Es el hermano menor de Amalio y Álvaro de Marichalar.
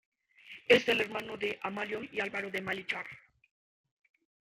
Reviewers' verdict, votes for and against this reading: rejected, 1, 2